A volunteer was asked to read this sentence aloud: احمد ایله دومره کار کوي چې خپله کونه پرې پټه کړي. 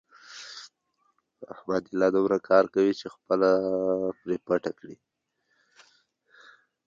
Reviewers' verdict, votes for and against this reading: rejected, 2, 3